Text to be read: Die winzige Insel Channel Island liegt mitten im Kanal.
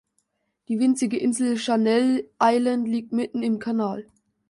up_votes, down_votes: 0, 2